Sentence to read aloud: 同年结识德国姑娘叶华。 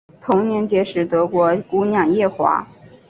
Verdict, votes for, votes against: accepted, 3, 0